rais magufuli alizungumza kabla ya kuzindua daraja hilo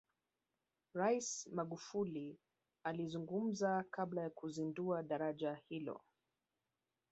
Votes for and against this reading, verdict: 0, 2, rejected